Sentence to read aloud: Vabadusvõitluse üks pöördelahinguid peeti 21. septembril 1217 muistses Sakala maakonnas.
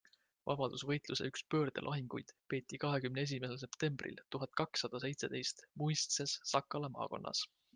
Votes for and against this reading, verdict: 0, 2, rejected